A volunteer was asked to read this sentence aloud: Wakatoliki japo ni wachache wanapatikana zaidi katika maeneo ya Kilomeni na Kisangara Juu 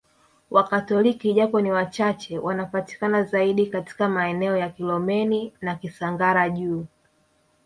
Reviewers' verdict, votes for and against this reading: rejected, 1, 2